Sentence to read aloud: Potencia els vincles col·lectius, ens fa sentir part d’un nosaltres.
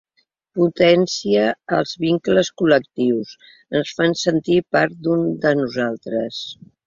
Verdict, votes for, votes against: rejected, 0, 2